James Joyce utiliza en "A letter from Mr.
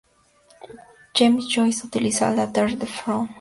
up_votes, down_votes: 2, 0